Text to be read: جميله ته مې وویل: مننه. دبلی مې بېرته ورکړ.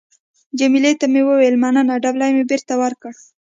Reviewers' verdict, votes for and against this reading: accepted, 2, 0